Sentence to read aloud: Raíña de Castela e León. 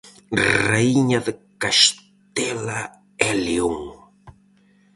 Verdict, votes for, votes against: rejected, 0, 4